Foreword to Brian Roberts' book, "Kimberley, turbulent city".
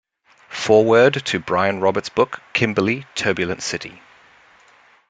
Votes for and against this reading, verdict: 2, 1, accepted